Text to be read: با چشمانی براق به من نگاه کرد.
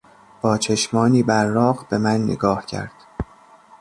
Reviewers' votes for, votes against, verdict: 1, 2, rejected